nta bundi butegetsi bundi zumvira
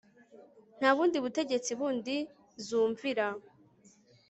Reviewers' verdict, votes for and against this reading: accepted, 2, 0